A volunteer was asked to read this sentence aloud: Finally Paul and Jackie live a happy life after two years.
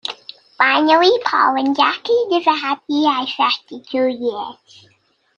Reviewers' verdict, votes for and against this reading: rejected, 1, 2